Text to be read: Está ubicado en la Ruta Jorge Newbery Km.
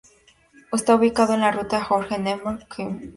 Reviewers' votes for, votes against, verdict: 0, 2, rejected